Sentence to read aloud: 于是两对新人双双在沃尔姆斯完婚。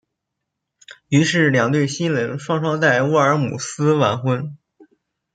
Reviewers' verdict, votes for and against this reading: accepted, 2, 0